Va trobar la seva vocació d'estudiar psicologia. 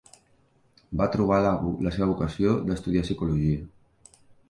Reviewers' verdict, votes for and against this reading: rejected, 1, 2